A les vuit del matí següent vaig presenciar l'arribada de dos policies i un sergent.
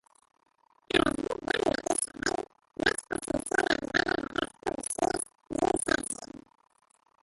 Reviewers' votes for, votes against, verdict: 0, 3, rejected